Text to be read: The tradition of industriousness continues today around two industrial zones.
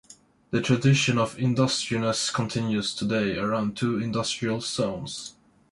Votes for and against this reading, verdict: 1, 2, rejected